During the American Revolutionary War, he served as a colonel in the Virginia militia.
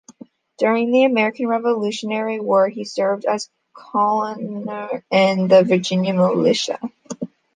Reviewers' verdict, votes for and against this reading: rejected, 0, 2